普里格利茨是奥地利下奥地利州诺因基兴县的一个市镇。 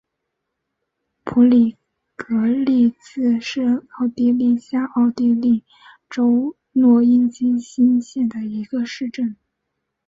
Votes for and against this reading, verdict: 7, 0, accepted